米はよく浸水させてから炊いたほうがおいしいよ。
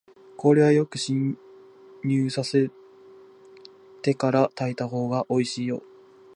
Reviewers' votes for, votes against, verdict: 0, 2, rejected